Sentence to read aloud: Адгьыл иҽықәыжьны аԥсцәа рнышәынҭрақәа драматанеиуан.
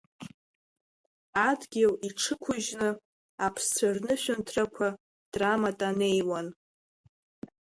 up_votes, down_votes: 0, 2